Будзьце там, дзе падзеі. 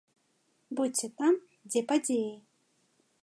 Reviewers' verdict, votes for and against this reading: accepted, 2, 0